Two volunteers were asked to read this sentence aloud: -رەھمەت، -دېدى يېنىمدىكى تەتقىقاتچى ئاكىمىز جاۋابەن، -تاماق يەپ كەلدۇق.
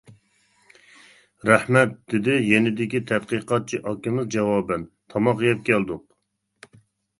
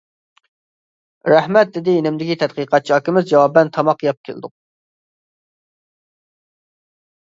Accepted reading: second